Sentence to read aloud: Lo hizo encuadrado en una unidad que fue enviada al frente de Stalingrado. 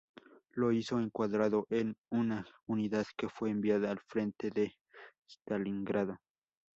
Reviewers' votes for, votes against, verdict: 0, 2, rejected